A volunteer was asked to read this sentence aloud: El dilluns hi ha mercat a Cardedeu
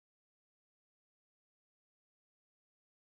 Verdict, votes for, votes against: rejected, 0, 2